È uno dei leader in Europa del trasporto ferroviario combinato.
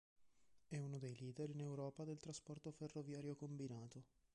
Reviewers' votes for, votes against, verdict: 1, 2, rejected